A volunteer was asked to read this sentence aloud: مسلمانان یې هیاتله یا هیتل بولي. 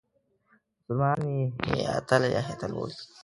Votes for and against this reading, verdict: 0, 2, rejected